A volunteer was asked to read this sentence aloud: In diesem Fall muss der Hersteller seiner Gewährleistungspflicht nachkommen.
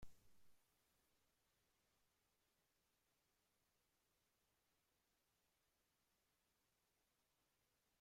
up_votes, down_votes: 0, 2